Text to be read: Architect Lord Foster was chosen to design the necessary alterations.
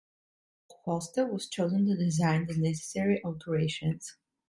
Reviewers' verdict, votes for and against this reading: rejected, 1, 2